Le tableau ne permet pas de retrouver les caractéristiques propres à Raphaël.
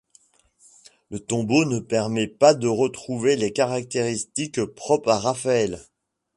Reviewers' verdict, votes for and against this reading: rejected, 1, 2